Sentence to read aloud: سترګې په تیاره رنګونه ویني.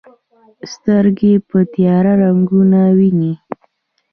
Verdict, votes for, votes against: accepted, 3, 0